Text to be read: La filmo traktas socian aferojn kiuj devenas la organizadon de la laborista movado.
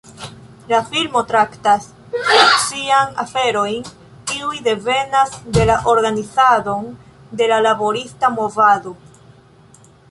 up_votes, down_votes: 1, 2